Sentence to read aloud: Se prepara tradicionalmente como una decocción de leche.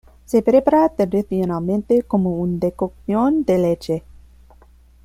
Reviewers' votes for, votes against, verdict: 1, 2, rejected